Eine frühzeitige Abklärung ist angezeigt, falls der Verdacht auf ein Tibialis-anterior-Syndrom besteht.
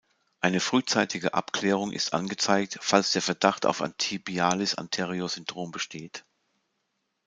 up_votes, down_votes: 2, 0